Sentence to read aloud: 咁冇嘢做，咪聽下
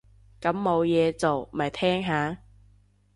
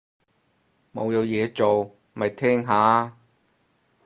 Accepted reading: first